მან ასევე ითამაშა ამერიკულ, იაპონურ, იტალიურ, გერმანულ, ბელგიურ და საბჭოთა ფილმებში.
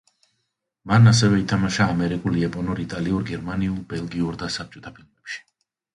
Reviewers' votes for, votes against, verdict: 0, 2, rejected